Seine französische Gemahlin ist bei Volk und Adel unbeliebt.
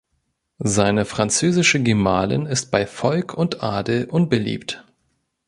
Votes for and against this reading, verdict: 2, 0, accepted